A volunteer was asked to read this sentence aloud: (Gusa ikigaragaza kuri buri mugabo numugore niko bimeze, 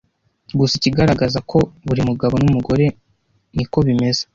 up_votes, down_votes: 1, 2